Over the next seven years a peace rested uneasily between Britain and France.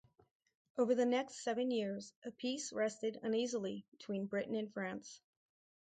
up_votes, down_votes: 4, 0